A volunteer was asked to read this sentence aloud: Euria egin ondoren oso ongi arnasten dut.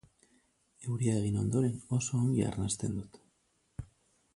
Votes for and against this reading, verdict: 4, 0, accepted